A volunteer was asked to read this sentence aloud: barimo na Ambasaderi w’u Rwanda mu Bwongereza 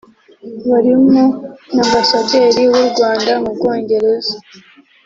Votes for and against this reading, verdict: 2, 0, accepted